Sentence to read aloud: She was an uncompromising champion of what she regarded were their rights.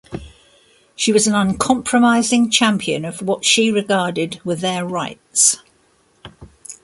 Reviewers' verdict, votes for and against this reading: accepted, 2, 0